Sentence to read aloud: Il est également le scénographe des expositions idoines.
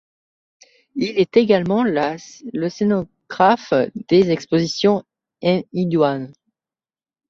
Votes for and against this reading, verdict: 1, 2, rejected